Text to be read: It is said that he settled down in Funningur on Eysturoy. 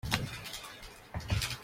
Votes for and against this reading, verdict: 0, 2, rejected